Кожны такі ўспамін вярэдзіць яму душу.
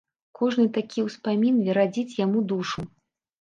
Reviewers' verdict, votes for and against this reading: rejected, 1, 2